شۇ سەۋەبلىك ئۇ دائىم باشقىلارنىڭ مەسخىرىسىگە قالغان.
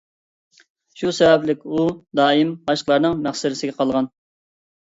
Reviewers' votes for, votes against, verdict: 0, 2, rejected